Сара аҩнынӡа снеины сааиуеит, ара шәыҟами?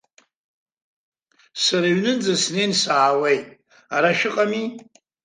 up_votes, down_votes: 1, 2